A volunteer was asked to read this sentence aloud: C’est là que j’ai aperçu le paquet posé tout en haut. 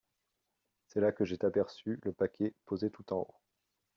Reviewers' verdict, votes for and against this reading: rejected, 1, 2